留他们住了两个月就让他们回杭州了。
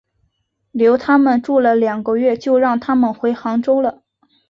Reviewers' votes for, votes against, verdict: 2, 0, accepted